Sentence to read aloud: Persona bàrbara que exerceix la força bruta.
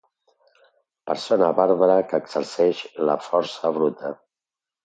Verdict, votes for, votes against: accepted, 2, 0